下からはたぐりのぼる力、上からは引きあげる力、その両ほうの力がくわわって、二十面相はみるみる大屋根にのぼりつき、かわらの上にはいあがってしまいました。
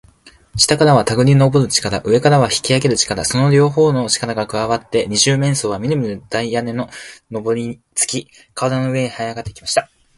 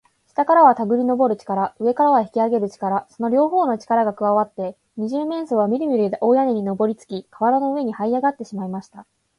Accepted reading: second